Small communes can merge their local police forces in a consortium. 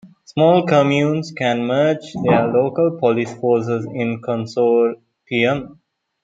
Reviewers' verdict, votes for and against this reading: rejected, 1, 2